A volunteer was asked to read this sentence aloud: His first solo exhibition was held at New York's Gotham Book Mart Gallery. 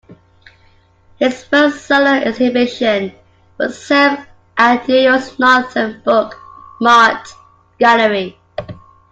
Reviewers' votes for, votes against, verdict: 1, 2, rejected